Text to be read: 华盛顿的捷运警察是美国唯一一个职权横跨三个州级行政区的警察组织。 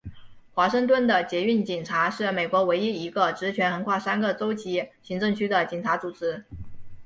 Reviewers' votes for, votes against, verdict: 2, 0, accepted